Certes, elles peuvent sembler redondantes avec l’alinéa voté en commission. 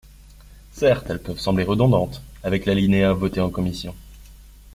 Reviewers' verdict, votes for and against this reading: accepted, 2, 0